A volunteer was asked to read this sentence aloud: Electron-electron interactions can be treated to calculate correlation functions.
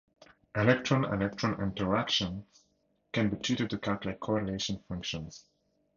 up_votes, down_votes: 2, 2